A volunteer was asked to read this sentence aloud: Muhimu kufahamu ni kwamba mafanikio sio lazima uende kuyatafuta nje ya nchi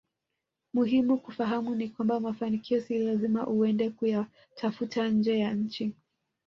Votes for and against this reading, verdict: 1, 2, rejected